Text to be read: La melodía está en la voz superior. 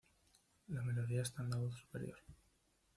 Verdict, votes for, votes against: rejected, 0, 2